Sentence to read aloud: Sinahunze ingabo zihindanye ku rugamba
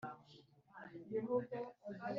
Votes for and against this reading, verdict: 2, 3, rejected